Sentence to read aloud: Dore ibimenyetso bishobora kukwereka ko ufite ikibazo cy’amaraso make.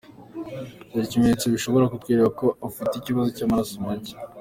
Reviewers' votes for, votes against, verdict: 2, 1, accepted